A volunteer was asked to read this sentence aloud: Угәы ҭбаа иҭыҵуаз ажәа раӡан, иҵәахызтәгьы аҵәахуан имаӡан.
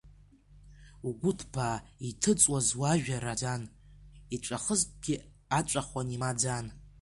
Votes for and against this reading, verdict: 0, 2, rejected